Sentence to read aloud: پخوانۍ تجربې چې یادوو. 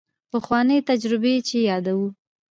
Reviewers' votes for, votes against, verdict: 2, 0, accepted